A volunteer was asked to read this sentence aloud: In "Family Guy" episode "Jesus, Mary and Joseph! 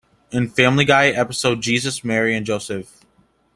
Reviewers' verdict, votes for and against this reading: accepted, 2, 0